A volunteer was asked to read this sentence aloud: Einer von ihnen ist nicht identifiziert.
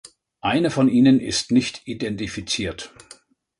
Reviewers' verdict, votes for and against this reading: accepted, 2, 0